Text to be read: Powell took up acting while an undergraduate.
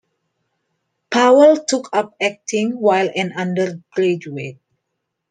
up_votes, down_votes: 2, 1